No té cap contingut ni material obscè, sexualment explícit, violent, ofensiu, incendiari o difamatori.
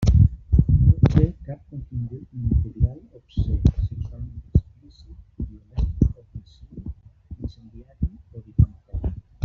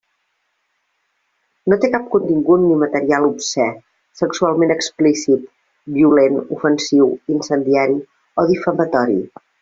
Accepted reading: second